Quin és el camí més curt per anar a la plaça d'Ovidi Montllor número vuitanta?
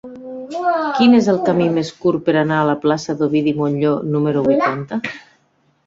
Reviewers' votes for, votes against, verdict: 0, 2, rejected